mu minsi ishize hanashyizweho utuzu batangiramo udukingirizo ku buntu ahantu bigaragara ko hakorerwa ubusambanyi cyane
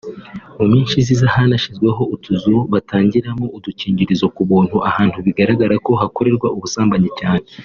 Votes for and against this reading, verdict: 0, 2, rejected